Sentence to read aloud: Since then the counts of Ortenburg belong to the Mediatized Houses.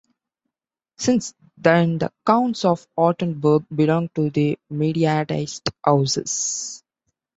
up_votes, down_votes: 2, 1